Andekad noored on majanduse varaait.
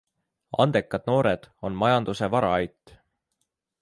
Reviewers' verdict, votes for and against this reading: accepted, 2, 0